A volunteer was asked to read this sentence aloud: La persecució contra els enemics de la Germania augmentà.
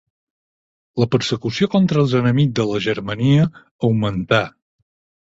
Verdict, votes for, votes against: accepted, 6, 0